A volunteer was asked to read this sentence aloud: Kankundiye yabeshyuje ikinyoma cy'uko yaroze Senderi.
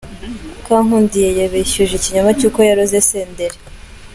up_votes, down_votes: 2, 1